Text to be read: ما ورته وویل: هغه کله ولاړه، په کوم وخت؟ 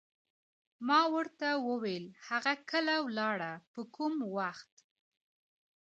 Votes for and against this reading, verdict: 1, 2, rejected